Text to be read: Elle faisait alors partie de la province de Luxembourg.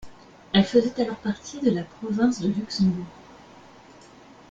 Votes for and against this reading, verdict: 2, 0, accepted